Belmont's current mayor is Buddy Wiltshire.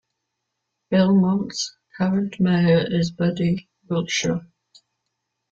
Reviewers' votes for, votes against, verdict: 2, 1, accepted